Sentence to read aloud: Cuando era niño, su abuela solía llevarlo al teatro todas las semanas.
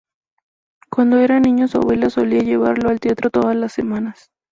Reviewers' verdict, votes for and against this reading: accepted, 2, 0